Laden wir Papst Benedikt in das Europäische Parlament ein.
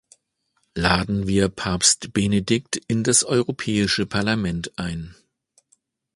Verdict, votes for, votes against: accepted, 2, 0